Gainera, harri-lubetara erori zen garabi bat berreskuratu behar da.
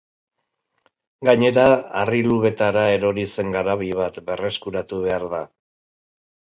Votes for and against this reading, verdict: 2, 0, accepted